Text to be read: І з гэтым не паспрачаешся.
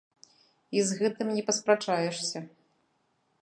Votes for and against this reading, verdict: 2, 1, accepted